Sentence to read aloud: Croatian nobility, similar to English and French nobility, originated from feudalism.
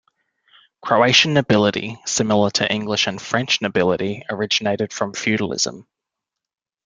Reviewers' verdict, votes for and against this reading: accepted, 2, 0